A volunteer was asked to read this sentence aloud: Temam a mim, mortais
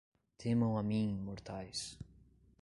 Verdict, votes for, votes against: rejected, 1, 2